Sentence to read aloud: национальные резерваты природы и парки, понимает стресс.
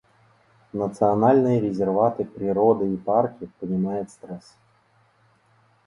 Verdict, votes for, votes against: rejected, 0, 2